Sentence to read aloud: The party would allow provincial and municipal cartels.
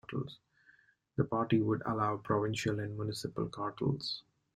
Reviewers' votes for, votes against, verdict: 0, 2, rejected